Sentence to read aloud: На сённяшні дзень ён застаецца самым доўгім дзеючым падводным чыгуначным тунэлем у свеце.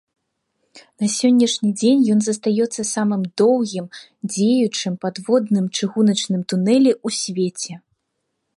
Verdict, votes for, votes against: rejected, 1, 3